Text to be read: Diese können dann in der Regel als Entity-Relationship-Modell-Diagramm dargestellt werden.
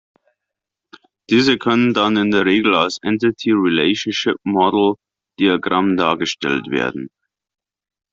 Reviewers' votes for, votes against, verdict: 0, 2, rejected